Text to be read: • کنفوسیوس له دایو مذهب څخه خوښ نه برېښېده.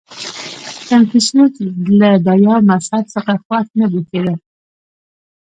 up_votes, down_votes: 1, 2